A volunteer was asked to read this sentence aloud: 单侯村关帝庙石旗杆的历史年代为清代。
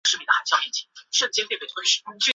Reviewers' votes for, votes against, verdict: 0, 2, rejected